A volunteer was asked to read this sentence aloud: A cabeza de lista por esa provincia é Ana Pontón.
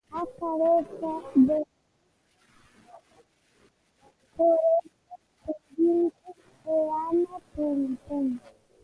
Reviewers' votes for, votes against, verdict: 0, 2, rejected